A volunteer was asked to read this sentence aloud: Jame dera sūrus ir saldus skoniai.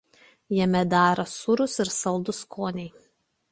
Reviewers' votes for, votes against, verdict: 2, 0, accepted